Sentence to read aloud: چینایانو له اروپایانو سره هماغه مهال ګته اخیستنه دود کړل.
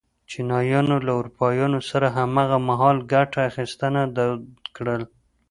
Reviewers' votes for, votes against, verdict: 0, 2, rejected